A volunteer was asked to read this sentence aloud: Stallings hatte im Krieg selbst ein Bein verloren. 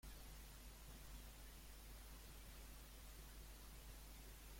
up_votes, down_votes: 0, 2